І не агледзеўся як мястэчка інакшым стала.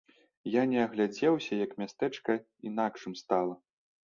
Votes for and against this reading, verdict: 2, 1, accepted